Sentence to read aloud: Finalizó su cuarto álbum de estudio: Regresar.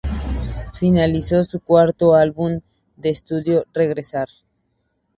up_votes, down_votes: 2, 0